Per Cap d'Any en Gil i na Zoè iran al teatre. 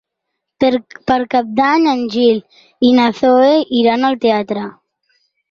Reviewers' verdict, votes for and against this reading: rejected, 0, 4